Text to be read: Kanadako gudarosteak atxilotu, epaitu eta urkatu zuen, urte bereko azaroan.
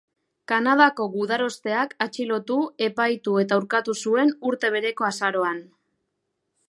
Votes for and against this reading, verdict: 4, 0, accepted